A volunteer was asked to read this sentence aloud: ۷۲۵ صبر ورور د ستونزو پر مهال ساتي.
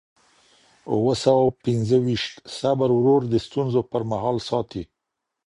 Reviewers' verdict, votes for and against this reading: rejected, 0, 2